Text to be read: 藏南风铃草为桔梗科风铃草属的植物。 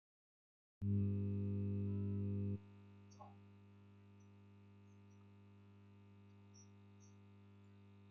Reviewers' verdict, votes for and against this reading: rejected, 1, 2